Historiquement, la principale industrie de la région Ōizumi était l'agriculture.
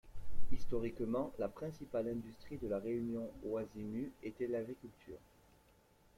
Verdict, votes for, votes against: accepted, 2, 0